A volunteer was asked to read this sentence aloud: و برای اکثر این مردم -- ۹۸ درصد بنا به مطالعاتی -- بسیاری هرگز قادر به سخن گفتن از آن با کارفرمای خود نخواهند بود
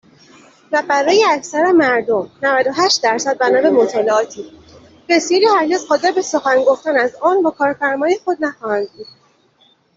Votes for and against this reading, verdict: 0, 2, rejected